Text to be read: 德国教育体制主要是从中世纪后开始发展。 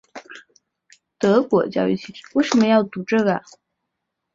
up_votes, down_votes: 0, 4